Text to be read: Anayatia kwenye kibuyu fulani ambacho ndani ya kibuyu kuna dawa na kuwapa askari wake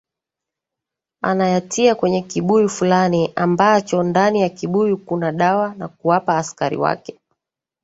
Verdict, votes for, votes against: accepted, 3, 1